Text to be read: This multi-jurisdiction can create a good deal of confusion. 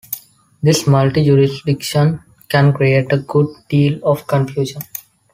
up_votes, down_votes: 2, 0